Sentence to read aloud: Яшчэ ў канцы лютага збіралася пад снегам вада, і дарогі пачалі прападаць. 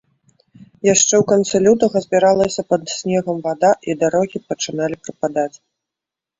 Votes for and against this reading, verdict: 1, 2, rejected